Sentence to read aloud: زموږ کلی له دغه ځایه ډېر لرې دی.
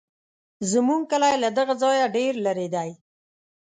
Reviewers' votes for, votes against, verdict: 2, 0, accepted